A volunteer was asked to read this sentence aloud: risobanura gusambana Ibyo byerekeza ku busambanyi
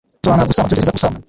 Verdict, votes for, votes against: rejected, 1, 2